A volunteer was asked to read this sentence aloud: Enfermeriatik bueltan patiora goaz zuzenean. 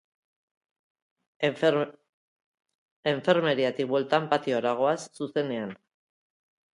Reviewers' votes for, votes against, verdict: 0, 3, rejected